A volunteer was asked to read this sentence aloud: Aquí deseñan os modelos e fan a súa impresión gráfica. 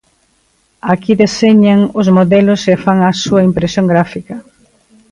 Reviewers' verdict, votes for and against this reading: accepted, 2, 0